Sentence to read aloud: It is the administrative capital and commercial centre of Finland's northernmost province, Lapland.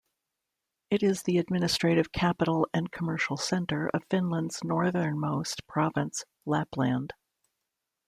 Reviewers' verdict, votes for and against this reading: rejected, 1, 2